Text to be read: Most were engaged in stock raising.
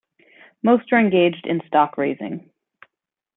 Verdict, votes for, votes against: rejected, 1, 2